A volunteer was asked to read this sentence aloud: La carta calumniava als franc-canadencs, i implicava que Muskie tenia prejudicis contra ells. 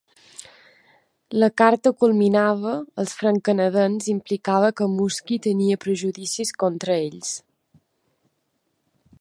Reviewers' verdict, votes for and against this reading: rejected, 0, 2